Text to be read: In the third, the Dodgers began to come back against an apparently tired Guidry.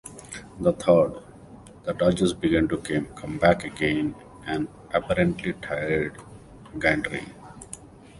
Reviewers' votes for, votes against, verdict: 1, 2, rejected